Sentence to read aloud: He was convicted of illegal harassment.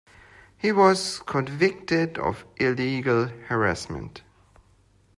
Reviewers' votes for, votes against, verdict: 2, 0, accepted